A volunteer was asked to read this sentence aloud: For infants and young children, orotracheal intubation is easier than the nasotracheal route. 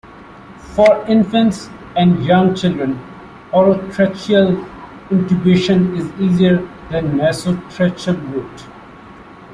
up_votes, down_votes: 0, 2